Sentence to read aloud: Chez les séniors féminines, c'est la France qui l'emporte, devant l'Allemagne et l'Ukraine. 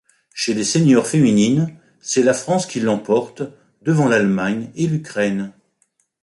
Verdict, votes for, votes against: accepted, 2, 0